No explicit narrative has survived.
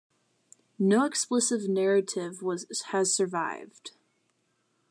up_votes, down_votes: 2, 0